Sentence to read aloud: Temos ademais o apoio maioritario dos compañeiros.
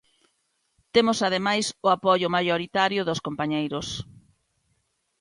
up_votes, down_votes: 2, 0